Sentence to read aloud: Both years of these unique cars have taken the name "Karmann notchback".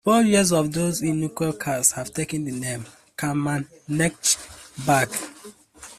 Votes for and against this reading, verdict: 0, 2, rejected